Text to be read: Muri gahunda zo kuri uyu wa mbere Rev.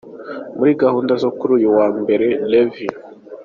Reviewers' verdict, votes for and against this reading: accepted, 2, 0